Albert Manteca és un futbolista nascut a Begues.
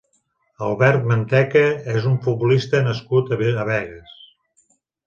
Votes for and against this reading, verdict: 0, 2, rejected